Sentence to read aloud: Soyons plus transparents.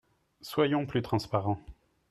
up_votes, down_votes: 3, 0